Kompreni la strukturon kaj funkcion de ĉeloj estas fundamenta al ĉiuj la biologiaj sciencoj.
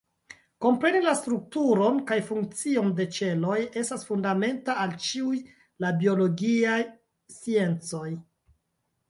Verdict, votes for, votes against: rejected, 0, 2